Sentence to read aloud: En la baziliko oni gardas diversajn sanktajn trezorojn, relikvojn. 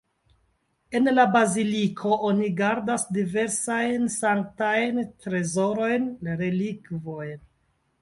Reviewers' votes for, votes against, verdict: 2, 0, accepted